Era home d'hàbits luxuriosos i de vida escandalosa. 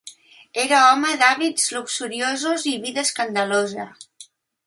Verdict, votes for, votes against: accepted, 2, 0